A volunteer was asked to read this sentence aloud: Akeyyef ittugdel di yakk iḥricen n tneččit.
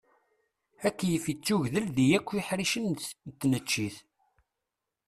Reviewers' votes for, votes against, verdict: 1, 2, rejected